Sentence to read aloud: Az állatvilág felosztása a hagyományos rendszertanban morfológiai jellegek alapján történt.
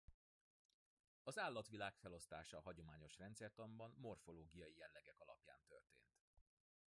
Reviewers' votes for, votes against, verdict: 2, 0, accepted